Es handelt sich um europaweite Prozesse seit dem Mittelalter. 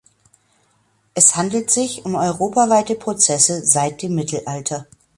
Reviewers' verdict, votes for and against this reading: accepted, 2, 0